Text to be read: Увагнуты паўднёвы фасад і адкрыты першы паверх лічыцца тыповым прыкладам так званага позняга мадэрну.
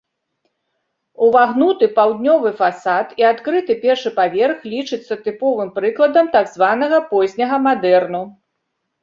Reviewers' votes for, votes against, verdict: 2, 0, accepted